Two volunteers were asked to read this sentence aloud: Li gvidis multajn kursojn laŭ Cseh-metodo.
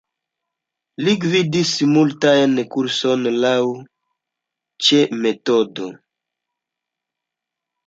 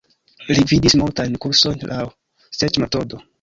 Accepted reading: first